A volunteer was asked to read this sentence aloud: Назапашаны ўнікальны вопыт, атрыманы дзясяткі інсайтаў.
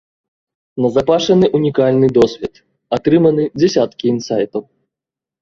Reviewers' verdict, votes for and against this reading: rejected, 0, 2